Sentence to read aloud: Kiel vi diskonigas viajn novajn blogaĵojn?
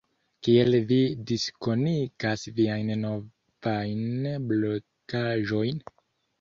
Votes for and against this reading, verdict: 0, 2, rejected